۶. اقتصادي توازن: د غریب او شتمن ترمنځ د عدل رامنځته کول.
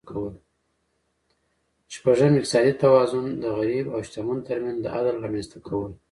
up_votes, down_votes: 0, 2